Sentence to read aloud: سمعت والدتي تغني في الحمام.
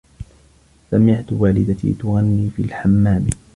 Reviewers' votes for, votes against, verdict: 2, 0, accepted